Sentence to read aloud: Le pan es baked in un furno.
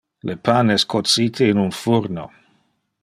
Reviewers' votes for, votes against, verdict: 1, 2, rejected